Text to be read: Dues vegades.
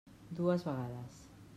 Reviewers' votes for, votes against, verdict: 3, 0, accepted